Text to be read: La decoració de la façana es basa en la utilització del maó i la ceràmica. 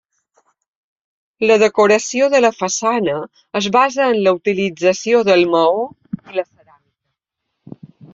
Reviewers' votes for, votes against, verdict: 1, 2, rejected